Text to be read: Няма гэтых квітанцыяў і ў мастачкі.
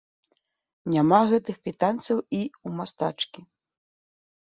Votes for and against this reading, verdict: 2, 0, accepted